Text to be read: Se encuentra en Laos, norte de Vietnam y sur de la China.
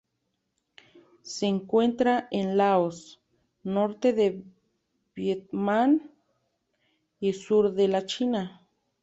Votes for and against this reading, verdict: 2, 0, accepted